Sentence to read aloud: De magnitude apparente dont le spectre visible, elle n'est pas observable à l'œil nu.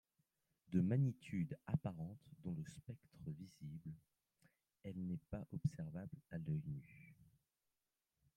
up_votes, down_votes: 1, 2